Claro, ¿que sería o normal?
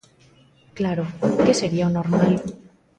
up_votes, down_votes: 2, 0